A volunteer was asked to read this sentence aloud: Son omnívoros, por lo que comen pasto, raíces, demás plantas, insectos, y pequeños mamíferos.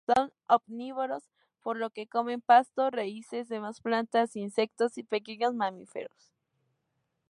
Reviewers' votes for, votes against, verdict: 2, 0, accepted